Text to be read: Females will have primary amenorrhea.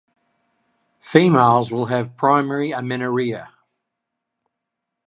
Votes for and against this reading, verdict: 2, 0, accepted